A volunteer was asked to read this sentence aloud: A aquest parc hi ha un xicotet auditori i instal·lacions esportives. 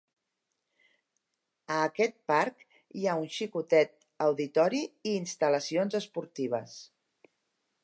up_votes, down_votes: 2, 0